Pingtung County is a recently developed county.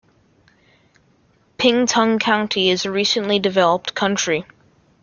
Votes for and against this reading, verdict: 1, 2, rejected